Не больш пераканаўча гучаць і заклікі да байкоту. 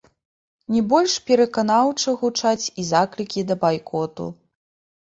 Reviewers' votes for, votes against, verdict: 1, 2, rejected